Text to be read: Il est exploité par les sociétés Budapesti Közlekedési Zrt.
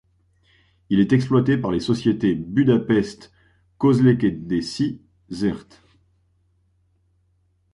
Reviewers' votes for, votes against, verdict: 1, 2, rejected